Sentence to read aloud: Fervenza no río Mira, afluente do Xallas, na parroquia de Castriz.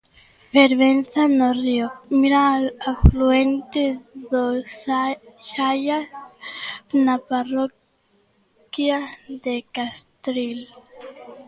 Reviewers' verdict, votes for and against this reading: rejected, 0, 2